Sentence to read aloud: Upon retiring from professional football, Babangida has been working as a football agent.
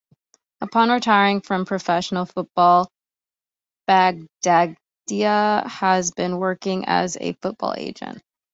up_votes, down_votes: 2, 1